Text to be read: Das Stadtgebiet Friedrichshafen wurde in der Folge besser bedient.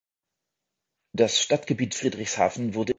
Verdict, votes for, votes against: rejected, 0, 2